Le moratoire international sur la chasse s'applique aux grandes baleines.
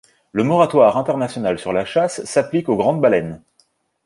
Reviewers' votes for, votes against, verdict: 2, 0, accepted